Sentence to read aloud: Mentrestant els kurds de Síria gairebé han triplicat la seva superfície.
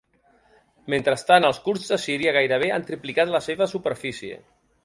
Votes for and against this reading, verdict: 3, 0, accepted